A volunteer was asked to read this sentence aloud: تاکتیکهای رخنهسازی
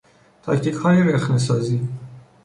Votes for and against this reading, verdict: 2, 0, accepted